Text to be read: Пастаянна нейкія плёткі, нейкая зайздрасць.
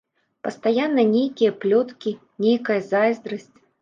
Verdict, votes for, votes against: accepted, 2, 0